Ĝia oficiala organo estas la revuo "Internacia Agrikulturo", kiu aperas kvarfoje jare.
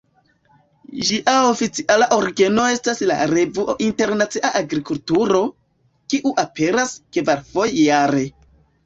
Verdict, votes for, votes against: rejected, 1, 2